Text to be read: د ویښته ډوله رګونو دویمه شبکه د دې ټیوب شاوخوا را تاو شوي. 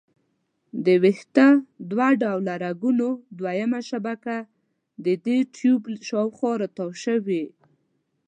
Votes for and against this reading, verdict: 2, 1, accepted